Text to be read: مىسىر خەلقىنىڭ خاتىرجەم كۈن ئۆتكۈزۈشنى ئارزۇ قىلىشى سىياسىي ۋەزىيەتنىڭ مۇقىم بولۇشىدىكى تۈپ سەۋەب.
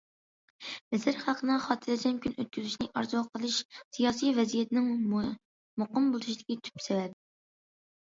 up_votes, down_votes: 2, 1